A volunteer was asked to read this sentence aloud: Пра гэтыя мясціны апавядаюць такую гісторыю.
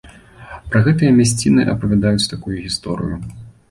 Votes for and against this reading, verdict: 2, 0, accepted